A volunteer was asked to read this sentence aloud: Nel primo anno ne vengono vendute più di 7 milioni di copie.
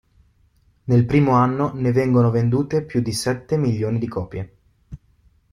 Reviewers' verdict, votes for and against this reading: rejected, 0, 2